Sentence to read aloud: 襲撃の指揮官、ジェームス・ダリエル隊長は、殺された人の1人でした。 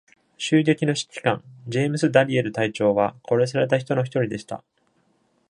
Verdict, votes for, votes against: rejected, 0, 2